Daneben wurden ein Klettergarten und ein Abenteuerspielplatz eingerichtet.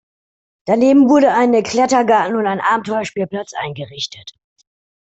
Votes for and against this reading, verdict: 1, 2, rejected